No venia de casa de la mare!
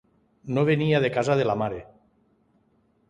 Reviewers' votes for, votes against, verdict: 2, 0, accepted